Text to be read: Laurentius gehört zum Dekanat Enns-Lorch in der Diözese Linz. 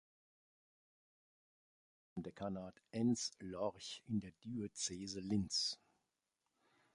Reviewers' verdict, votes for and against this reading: rejected, 0, 2